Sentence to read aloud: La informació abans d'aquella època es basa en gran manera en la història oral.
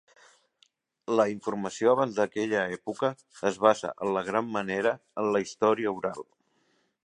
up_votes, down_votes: 0, 2